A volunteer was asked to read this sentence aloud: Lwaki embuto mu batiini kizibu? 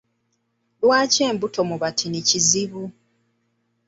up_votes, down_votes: 0, 2